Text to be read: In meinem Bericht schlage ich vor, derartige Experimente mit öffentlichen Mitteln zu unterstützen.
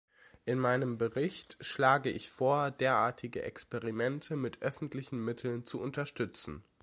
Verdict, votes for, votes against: accepted, 2, 0